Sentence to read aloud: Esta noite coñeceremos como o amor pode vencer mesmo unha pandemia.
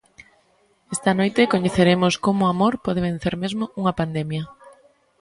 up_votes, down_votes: 2, 0